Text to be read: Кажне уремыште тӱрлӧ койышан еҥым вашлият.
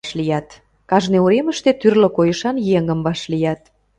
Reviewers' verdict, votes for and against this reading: rejected, 0, 2